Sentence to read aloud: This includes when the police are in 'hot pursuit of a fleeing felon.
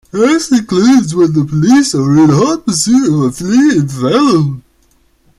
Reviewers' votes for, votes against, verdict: 0, 2, rejected